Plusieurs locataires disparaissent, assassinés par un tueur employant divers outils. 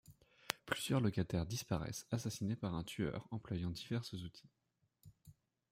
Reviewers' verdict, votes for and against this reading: rejected, 0, 2